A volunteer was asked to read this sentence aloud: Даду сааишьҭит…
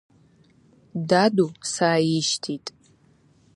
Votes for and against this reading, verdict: 2, 0, accepted